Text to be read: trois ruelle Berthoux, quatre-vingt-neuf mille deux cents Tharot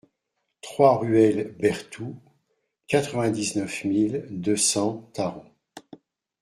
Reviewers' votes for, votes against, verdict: 0, 2, rejected